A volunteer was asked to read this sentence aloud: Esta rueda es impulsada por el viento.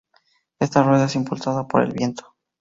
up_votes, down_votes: 2, 0